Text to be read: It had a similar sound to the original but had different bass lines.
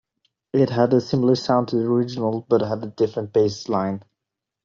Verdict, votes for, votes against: rejected, 1, 2